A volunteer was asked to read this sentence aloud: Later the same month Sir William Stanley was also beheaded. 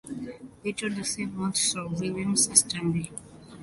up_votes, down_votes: 0, 2